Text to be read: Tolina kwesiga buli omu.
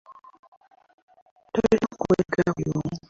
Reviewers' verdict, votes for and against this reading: rejected, 0, 3